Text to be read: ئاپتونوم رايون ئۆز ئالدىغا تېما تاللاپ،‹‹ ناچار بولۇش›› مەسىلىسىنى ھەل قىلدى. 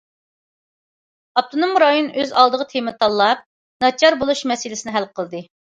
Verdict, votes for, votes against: accepted, 2, 0